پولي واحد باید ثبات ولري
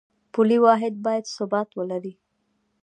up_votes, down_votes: 2, 1